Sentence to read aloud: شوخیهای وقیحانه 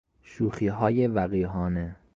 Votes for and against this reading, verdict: 2, 0, accepted